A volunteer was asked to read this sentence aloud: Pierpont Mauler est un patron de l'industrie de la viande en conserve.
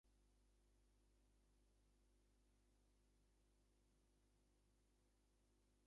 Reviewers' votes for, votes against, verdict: 0, 2, rejected